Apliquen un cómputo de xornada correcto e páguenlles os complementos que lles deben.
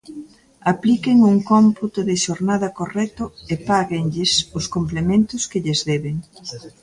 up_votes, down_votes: 2, 0